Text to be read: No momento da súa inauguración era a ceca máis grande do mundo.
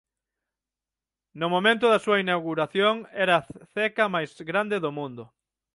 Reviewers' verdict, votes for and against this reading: rejected, 3, 9